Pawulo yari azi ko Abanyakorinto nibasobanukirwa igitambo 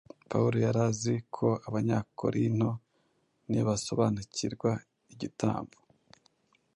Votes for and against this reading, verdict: 2, 0, accepted